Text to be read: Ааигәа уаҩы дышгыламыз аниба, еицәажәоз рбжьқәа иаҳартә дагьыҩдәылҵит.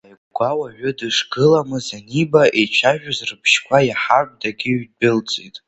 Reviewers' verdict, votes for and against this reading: accepted, 2, 0